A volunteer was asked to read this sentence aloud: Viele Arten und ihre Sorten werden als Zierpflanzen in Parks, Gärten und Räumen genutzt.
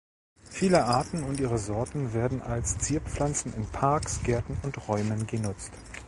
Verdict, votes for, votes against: accepted, 2, 0